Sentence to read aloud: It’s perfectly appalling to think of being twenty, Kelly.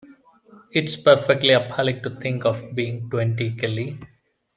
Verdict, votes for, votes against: accepted, 2, 0